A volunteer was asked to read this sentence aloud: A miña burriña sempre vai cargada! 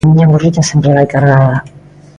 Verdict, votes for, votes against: accepted, 2, 0